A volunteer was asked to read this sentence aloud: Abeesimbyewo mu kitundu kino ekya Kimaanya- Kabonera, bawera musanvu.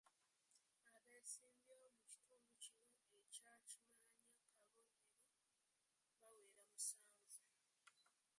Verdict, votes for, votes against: rejected, 0, 2